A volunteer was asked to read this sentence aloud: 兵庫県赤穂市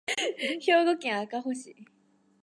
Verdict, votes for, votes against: rejected, 1, 2